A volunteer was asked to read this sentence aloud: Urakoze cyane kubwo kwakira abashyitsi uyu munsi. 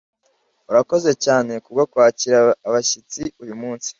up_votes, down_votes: 2, 1